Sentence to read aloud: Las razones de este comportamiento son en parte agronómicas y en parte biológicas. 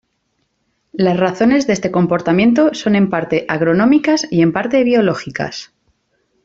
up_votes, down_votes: 2, 0